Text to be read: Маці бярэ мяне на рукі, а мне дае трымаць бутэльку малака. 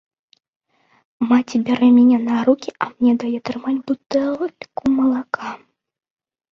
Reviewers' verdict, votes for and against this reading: rejected, 0, 2